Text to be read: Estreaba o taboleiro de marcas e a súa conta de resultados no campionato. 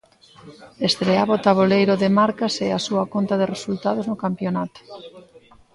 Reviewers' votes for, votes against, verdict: 0, 2, rejected